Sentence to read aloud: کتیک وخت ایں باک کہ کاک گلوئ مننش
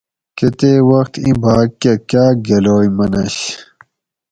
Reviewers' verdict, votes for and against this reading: rejected, 2, 2